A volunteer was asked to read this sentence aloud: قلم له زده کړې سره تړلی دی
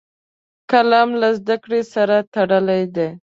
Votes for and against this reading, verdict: 2, 0, accepted